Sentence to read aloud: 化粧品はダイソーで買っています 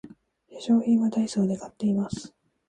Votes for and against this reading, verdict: 2, 3, rejected